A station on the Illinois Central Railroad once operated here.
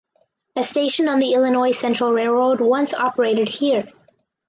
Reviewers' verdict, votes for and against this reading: accepted, 4, 0